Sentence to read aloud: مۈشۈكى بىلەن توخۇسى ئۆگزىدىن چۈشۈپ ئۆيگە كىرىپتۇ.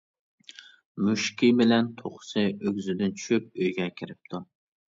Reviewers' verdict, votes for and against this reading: accepted, 2, 0